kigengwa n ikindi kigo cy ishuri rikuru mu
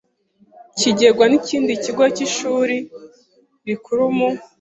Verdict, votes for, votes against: accepted, 2, 0